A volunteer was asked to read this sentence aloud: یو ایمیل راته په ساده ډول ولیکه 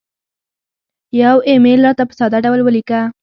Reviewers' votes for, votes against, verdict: 3, 0, accepted